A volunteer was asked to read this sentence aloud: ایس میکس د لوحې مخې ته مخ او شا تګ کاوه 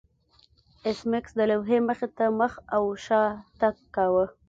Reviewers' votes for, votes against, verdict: 2, 0, accepted